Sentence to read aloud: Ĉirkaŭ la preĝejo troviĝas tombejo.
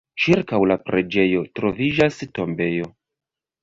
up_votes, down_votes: 0, 2